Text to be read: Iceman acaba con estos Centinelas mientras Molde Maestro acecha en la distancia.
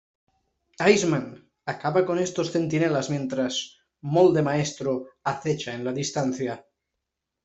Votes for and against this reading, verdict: 1, 2, rejected